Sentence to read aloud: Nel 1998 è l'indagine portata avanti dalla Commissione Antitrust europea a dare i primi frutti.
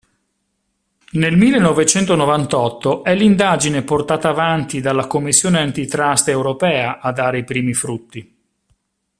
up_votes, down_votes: 0, 2